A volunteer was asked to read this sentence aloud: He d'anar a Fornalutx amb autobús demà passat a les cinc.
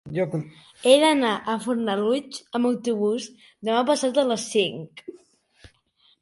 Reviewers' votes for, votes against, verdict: 1, 2, rejected